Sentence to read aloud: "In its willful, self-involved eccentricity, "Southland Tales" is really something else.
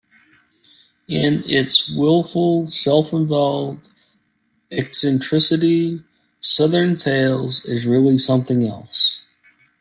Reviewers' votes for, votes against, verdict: 0, 2, rejected